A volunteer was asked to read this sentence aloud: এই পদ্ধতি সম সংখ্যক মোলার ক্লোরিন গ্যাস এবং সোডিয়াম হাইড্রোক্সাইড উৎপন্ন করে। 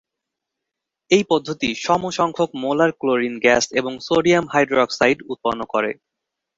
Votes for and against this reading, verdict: 2, 0, accepted